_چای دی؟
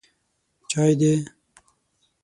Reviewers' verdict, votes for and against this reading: accepted, 6, 3